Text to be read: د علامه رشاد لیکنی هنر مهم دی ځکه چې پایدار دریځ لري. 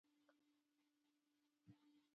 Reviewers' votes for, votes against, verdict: 0, 2, rejected